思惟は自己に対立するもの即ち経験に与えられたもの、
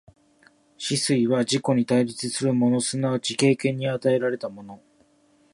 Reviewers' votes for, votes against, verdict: 2, 0, accepted